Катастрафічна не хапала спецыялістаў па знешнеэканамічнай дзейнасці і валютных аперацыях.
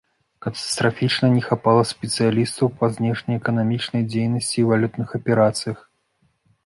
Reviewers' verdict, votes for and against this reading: accepted, 2, 0